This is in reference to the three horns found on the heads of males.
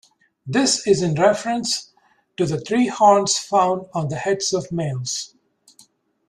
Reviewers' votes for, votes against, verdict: 2, 0, accepted